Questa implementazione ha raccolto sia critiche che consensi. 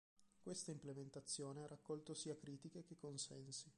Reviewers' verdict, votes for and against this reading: rejected, 0, 3